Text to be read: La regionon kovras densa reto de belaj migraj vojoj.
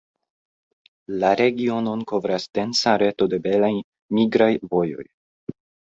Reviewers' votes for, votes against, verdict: 0, 2, rejected